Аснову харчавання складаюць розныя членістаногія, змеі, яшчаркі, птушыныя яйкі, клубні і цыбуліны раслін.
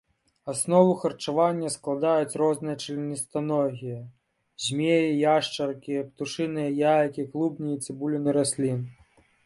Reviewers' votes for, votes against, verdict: 2, 0, accepted